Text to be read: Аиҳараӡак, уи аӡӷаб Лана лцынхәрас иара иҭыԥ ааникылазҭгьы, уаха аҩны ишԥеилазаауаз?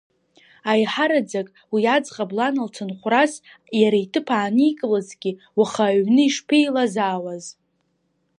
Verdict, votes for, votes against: accepted, 2, 0